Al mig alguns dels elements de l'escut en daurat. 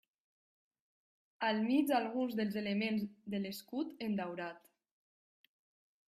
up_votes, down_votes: 2, 1